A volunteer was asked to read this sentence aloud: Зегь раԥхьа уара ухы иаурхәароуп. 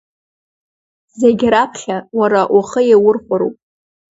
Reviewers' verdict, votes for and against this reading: accepted, 2, 1